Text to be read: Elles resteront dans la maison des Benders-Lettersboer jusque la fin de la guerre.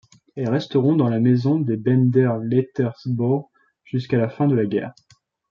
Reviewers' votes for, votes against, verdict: 2, 0, accepted